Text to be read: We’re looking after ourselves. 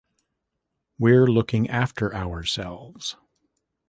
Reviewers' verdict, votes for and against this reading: rejected, 1, 2